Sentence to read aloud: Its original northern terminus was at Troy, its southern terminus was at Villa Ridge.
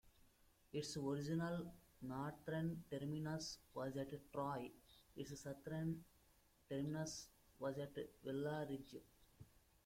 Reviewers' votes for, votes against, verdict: 1, 2, rejected